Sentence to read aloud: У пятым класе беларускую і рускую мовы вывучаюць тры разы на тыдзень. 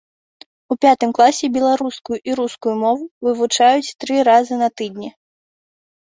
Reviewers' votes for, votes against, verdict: 0, 2, rejected